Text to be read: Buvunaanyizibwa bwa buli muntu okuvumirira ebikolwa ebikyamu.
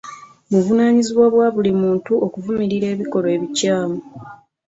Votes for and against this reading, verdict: 2, 0, accepted